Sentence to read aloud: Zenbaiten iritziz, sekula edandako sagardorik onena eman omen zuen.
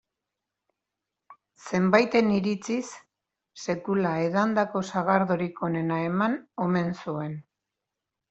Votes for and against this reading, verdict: 2, 0, accepted